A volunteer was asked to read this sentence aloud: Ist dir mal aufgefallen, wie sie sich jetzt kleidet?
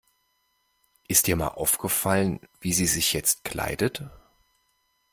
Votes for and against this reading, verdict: 2, 0, accepted